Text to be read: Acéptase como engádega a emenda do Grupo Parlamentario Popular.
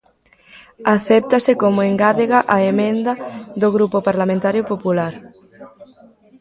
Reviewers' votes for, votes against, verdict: 2, 0, accepted